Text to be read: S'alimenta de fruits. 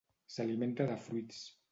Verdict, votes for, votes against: rejected, 1, 2